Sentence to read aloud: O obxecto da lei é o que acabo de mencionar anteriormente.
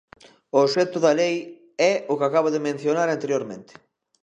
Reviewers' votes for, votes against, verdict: 2, 0, accepted